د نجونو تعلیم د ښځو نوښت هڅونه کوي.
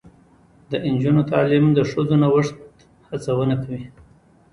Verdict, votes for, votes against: rejected, 1, 2